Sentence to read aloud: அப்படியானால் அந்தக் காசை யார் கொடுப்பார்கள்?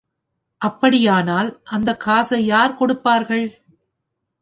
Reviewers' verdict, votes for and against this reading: accepted, 2, 0